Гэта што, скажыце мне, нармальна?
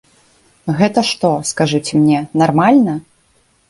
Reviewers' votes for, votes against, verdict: 2, 0, accepted